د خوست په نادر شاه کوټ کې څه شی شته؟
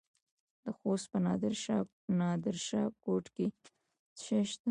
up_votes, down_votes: 1, 2